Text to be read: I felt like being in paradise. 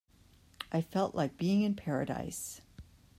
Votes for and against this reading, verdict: 2, 0, accepted